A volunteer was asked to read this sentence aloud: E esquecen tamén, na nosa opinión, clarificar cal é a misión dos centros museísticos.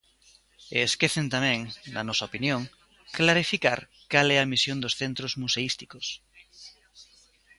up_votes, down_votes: 2, 0